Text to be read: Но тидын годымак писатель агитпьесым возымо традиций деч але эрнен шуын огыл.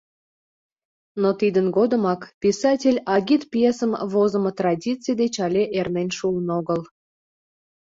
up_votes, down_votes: 2, 0